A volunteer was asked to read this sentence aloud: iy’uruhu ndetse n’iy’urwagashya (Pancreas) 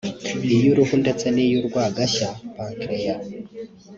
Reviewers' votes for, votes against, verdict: 2, 0, accepted